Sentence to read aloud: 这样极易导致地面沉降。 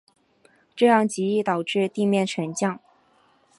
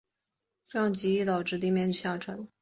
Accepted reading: first